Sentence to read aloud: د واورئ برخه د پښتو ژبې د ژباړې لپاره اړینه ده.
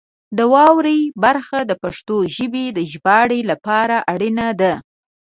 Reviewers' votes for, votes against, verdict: 2, 0, accepted